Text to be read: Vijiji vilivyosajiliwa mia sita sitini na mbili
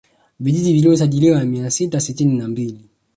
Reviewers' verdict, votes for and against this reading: rejected, 1, 2